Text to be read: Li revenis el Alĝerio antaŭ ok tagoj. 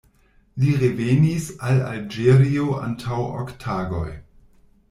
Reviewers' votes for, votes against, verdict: 1, 2, rejected